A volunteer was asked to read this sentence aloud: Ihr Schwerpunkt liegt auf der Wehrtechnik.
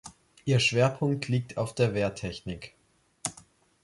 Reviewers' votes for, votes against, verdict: 2, 0, accepted